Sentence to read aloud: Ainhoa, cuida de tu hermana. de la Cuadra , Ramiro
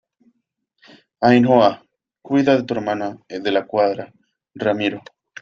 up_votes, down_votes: 2, 0